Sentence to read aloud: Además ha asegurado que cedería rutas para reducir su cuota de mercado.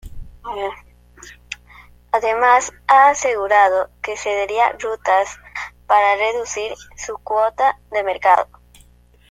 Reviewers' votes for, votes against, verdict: 2, 0, accepted